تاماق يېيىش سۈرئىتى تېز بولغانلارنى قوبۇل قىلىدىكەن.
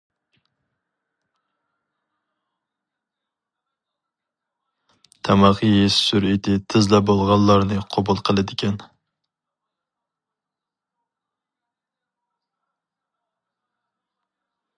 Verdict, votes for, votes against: rejected, 0, 4